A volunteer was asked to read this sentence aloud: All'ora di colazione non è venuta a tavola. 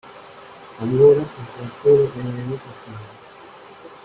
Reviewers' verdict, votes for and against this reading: rejected, 0, 2